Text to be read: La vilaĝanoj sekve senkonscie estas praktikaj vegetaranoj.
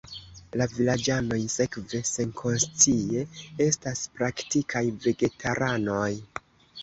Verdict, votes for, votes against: accepted, 3, 0